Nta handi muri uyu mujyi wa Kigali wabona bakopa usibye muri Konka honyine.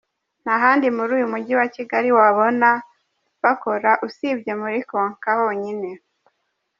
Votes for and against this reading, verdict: 1, 2, rejected